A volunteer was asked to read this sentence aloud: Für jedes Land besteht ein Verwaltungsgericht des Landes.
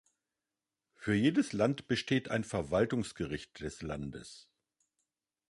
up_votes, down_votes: 2, 0